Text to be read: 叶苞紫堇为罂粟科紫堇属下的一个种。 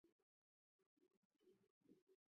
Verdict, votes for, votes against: rejected, 0, 2